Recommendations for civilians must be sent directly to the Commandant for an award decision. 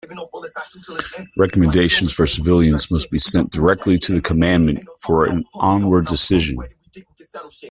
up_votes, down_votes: 0, 2